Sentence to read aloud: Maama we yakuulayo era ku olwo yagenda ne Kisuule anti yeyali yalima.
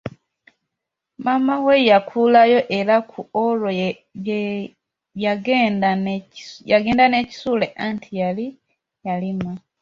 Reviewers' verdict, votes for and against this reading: rejected, 0, 2